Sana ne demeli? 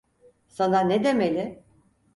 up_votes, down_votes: 4, 0